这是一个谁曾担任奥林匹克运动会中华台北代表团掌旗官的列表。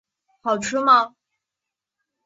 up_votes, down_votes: 0, 3